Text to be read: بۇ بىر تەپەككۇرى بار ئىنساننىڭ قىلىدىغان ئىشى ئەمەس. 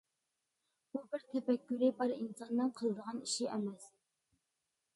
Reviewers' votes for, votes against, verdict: 0, 2, rejected